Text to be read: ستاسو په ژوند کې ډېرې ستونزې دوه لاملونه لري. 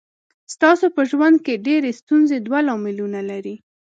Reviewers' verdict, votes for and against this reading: accepted, 2, 0